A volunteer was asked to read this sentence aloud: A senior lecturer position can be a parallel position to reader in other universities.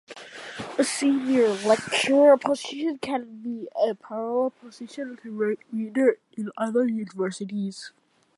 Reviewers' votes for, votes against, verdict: 0, 2, rejected